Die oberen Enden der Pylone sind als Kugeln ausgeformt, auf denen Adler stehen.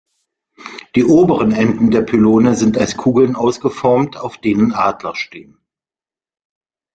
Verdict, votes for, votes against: accepted, 2, 1